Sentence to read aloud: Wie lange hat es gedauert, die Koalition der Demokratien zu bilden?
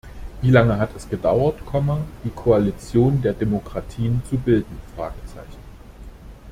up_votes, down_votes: 0, 2